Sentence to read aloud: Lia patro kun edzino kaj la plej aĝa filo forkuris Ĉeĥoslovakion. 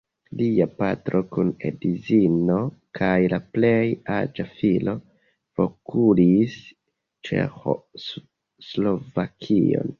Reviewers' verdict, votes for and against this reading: rejected, 1, 2